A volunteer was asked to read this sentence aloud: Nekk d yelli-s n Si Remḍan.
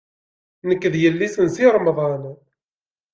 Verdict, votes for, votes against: accepted, 2, 0